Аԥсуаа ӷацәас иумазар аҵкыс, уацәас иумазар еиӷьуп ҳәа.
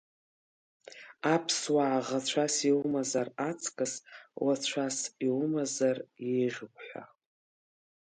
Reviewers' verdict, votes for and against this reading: accepted, 2, 0